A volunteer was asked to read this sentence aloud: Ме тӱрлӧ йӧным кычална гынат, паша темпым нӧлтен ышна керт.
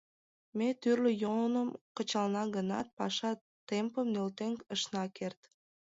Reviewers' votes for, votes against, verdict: 1, 2, rejected